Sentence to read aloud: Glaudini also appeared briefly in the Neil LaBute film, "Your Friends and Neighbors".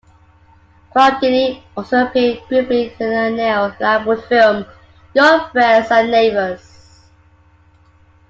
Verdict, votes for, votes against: accepted, 2, 0